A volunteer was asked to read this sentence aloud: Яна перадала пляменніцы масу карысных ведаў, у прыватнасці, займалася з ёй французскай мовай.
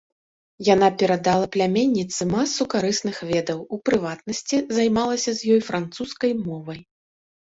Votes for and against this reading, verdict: 2, 0, accepted